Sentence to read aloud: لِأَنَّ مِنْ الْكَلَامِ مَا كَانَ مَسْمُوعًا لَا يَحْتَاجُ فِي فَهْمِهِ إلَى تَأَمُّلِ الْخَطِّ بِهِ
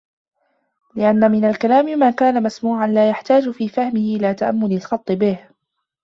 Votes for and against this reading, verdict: 1, 2, rejected